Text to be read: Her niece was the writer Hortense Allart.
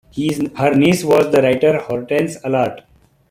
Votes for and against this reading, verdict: 0, 2, rejected